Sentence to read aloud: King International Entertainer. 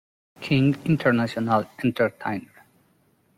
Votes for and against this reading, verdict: 0, 2, rejected